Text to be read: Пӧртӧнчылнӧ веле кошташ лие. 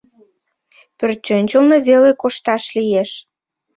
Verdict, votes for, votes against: rejected, 0, 2